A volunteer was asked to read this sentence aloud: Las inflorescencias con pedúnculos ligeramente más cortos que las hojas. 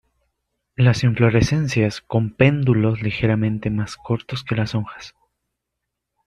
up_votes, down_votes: 0, 2